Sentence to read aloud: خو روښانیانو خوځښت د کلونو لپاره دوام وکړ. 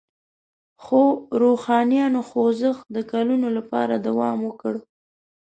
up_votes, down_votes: 2, 0